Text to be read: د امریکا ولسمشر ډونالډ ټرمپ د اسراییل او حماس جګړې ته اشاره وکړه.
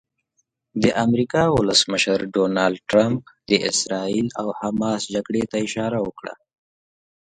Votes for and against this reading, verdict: 2, 0, accepted